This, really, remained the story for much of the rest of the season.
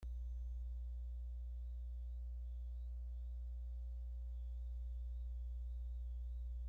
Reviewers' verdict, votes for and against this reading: rejected, 0, 2